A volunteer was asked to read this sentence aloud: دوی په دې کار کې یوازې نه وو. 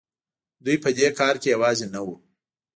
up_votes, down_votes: 0, 2